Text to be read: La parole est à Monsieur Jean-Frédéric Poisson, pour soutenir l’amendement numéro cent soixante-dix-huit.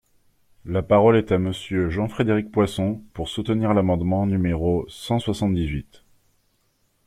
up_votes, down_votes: 2, 0